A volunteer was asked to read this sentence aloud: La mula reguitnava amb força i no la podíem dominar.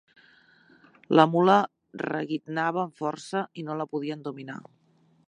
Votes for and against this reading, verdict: 2, 0, accepted